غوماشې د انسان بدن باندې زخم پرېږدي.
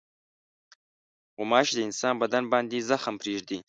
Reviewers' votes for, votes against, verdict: 2, 0, accepted